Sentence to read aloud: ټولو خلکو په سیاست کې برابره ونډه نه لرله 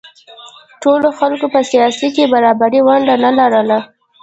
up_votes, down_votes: 2, 1